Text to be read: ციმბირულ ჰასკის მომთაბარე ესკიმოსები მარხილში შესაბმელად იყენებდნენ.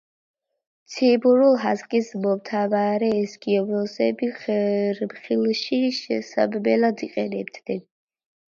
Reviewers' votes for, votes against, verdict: 0, 2, rejected